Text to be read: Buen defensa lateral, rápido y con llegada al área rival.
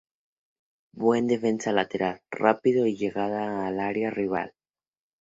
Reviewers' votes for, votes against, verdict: 0, 2, rejected